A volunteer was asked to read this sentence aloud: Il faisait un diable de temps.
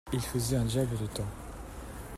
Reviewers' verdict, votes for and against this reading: rejected, 0, 2